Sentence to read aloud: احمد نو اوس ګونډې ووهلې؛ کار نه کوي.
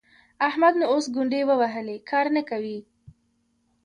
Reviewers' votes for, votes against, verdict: 1, 2, rejected